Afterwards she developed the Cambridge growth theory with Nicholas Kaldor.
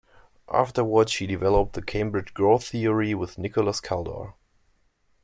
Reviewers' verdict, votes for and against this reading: accepted, 2, 0